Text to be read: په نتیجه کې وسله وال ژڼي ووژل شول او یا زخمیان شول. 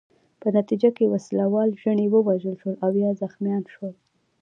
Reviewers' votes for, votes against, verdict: 2, 1, accepted